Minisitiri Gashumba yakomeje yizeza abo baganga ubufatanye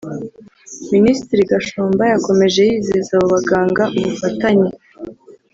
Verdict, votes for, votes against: accepted, 2, 0